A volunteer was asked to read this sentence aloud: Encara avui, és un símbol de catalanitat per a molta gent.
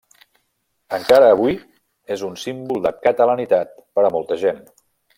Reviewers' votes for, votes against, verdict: 3, 0, accepted